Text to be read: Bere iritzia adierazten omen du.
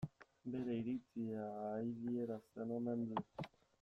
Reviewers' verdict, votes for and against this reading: rejected, 1, 2